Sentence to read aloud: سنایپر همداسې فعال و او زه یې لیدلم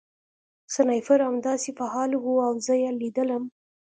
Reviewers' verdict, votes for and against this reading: accepted, 2, 0